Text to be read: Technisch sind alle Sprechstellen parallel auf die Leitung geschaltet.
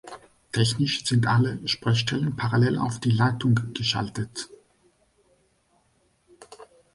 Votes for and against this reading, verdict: 2, 0, accepted